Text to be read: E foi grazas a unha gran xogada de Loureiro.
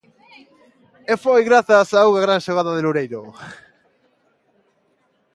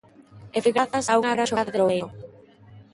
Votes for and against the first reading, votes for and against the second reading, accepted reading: 2, 0, 0, 3, first